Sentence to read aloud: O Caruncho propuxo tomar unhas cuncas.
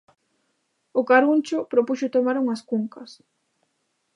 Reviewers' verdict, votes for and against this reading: accepted, 2, 0